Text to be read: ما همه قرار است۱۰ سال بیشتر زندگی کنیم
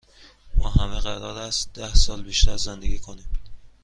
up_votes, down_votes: 0, 2